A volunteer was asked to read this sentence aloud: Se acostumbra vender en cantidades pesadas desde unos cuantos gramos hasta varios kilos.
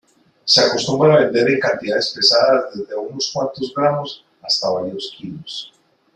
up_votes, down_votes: 2, 1